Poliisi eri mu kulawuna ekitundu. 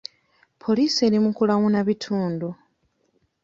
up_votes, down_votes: 1, 2